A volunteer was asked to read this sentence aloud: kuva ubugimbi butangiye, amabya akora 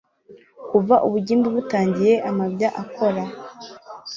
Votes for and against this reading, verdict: 0, 2, rejected